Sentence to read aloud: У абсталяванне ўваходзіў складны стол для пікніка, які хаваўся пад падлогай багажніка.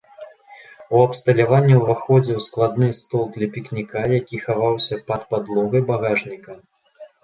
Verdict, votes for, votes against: accepted, 2, 0